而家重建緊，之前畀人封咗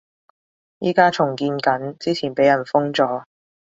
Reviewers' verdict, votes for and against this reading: accepted, 2, 1